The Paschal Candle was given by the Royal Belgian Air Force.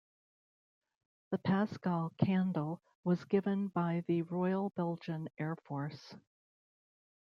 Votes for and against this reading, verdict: 2, 0, accepted